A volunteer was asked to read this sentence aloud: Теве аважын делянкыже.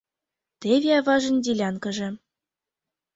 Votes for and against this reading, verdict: 4, 0, accepted